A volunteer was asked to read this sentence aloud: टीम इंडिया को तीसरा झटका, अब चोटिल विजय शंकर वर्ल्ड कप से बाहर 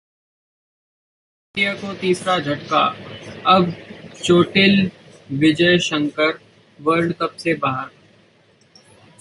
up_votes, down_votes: 0, 2